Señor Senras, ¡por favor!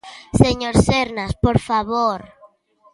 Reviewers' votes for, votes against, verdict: 0, 3, rejected